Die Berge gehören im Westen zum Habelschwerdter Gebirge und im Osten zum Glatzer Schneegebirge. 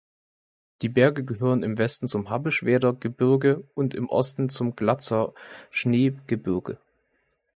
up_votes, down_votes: 2, 0